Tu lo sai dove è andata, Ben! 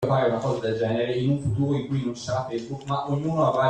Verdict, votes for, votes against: rejected, 0, 2